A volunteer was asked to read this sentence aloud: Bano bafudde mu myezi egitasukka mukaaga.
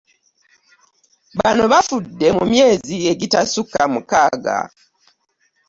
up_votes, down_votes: 2, 0